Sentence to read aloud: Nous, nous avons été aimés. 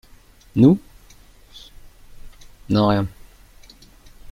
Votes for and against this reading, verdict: 0, 2, rejected